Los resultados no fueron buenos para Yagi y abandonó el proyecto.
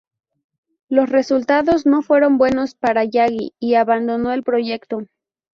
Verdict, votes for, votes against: accepted, 2, 0